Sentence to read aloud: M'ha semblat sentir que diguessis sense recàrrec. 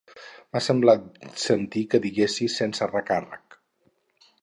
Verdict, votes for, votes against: accepted, 4, 0